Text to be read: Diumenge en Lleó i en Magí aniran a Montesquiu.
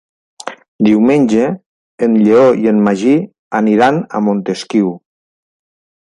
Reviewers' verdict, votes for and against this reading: accepted, 3, 0